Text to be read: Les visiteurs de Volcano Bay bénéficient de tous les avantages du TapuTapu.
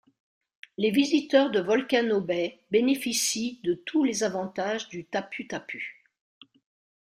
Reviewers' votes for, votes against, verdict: 1, 2, rejected